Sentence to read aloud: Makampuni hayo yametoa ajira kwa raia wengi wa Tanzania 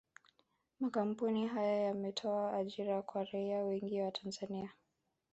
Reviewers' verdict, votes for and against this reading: rejected, 1, 2